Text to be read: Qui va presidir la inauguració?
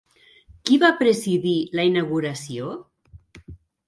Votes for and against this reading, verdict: 3, 0, accepted